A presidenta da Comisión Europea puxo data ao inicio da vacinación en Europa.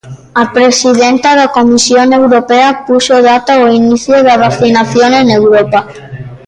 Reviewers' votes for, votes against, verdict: 2, 0, accepted